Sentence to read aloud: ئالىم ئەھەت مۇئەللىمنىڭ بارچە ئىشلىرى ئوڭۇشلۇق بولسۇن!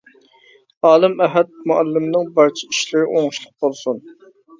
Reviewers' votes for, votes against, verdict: 2, 0, accepted